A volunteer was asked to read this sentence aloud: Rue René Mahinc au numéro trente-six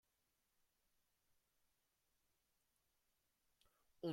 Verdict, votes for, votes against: rejected, 0, 2